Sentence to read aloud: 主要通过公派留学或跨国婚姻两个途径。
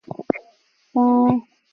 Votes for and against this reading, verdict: 1, 2, rejected